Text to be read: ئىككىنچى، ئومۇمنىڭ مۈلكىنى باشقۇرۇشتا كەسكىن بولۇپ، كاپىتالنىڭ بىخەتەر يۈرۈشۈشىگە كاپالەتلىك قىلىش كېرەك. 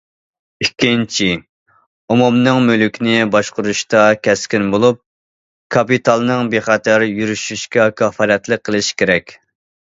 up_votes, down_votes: 1, 2